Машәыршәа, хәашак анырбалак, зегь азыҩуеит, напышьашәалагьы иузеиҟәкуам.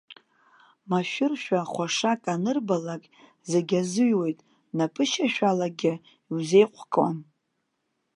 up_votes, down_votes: 0, 2